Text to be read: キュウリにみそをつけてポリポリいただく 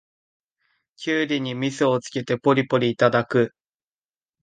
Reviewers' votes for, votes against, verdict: 2, 0, accepted